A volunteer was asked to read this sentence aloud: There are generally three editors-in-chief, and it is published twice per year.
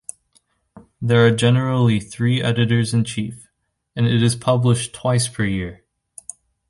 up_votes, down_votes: 2, 0